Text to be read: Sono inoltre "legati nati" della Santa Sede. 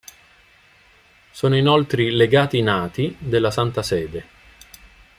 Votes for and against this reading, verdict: 0, 2, rejected